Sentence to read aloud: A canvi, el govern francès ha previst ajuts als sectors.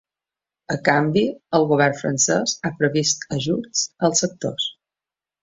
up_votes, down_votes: 2, 0